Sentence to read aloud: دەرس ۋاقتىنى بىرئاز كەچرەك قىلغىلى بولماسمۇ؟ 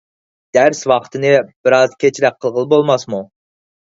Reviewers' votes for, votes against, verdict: 4, 0, accepted